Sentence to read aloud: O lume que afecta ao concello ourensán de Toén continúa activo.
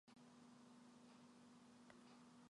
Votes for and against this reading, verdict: 0, 2, rejected